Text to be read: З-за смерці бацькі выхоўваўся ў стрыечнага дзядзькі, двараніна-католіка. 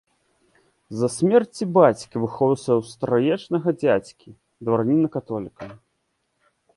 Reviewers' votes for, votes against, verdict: 1, 2, rejected